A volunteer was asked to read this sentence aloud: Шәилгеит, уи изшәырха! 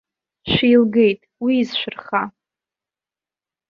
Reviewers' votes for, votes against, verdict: 1, 2, rejected